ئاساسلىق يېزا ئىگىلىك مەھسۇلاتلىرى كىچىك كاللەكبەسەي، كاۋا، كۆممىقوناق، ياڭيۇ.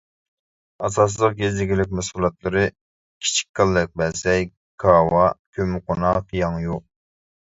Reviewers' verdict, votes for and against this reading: accepted, 2, 1